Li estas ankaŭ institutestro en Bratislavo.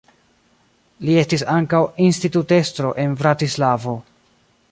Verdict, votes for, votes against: rejected, 0, 2